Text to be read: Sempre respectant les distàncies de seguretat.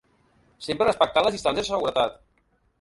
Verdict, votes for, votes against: rejected, 0, 2